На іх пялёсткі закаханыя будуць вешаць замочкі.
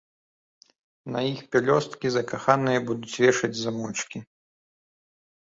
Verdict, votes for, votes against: accepted, 2, 0